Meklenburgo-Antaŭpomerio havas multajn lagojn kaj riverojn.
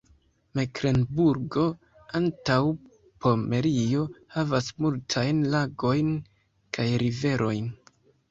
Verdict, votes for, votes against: rejected, 1, 2